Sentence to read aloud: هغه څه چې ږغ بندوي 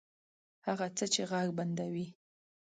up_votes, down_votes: 2, 0